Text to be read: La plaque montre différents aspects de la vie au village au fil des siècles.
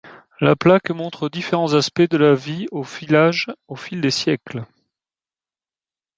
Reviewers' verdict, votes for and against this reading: accepted, 3, 1